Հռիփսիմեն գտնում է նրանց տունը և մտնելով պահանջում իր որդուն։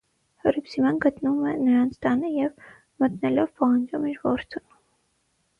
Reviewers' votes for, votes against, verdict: 0, 3, rejected